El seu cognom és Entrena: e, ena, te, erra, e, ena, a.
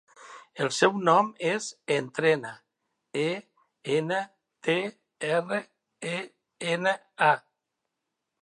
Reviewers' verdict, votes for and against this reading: rejected, 0, 2